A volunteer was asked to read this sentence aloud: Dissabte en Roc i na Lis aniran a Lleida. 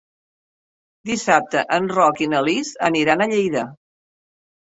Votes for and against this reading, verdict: 3, 0, accepted